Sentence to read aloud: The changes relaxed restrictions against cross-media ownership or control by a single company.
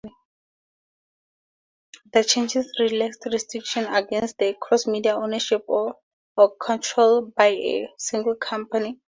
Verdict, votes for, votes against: rejected, 0, 2